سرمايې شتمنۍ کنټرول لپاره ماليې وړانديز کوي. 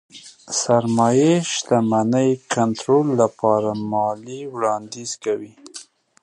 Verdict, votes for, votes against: rejected, 2, 3